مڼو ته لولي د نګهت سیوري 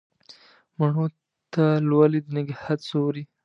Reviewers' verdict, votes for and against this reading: rejected, 1, 2